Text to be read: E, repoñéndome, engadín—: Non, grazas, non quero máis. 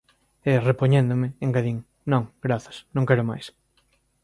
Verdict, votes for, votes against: accepted, 2, 0